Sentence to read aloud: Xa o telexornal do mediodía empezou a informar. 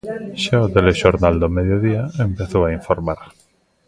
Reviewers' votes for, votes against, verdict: 1, 2, rejected